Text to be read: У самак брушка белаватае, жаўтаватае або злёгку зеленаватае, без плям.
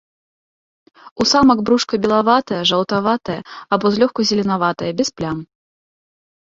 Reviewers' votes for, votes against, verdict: 2, 0, accepted